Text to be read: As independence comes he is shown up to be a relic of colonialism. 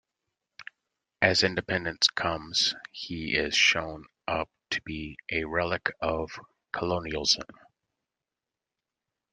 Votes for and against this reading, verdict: 2, 0, accepted